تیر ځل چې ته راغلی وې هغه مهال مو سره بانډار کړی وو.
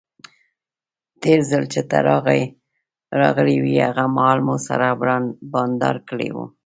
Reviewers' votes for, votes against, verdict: 0, 2, rejected